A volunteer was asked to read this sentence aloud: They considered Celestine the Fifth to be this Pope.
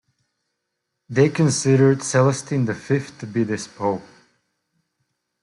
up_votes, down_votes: 2, 0